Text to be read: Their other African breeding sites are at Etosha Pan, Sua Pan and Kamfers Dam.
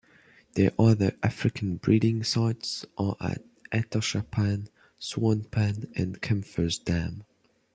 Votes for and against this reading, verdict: 1, 2, rejected